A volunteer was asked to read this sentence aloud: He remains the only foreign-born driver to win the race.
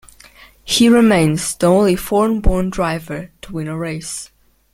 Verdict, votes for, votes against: rejected, 0, 2